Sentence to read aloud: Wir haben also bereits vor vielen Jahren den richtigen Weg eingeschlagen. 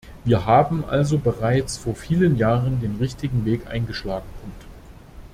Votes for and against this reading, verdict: 0, 2, rejected